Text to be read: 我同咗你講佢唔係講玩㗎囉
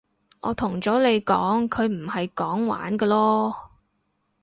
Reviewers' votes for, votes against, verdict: 2, 2, rejected